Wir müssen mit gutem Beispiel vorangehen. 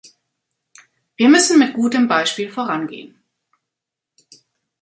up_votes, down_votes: 2, 0